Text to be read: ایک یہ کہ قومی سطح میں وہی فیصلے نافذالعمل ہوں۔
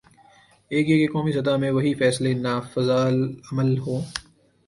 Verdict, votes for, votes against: accepted, 3, 1